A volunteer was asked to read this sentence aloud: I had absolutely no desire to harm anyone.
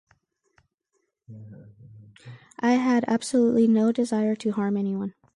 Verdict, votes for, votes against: accepted, 4, 0